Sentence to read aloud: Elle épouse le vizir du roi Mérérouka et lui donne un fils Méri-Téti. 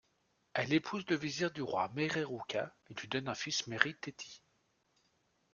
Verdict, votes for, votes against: rejected, 1, 2